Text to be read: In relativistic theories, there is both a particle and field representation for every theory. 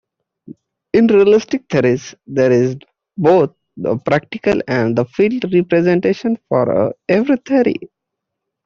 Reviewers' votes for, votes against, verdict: 1, 2, rejected